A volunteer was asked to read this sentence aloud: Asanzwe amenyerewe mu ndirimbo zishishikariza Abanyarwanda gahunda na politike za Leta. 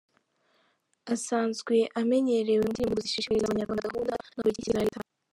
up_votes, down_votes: 0, 3